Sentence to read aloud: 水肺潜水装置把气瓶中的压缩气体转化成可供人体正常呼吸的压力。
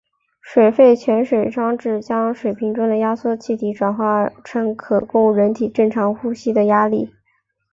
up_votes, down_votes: 2, 0